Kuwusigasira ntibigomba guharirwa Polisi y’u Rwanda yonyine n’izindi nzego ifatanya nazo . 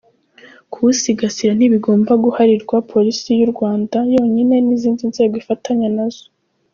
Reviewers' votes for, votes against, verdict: 3, 0, accepted